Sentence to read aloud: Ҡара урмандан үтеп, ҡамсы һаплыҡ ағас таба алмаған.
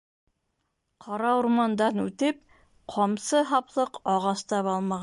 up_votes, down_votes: 0, 2